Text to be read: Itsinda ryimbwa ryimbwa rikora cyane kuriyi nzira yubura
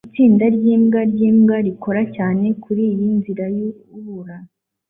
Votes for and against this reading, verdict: 2, 0, accepted